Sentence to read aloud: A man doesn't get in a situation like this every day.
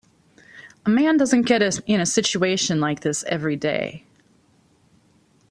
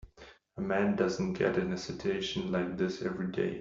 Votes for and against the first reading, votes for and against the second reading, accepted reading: 1, 2, 2, 0, second